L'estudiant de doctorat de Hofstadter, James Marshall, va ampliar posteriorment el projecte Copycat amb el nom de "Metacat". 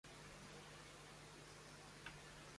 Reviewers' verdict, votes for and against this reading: rejected, 0, 2